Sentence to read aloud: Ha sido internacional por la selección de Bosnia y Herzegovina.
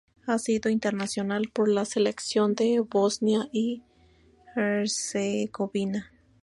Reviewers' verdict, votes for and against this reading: accepted, 2, 0